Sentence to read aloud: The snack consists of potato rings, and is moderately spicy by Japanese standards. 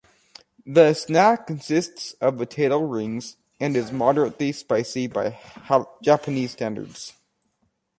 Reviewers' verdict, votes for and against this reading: rejected, 0, 2